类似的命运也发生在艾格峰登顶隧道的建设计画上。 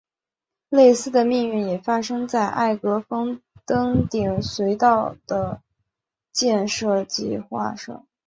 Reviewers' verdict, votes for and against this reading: accepted, 3, 0